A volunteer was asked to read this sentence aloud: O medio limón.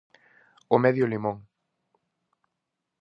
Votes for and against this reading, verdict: 4, 0, accepted